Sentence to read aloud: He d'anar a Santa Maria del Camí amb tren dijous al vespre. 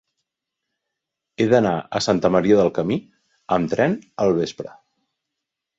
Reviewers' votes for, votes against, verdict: 1, 2, rejected